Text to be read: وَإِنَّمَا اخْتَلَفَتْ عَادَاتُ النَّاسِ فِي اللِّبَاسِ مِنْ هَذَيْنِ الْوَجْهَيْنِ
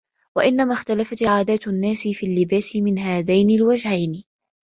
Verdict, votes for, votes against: rejected, 1, 2